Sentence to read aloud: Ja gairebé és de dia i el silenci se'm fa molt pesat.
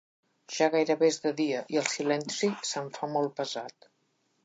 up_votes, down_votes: 3, 0